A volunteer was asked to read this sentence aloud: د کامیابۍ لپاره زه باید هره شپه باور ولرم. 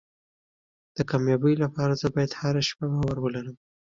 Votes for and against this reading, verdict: 2, 0, accepted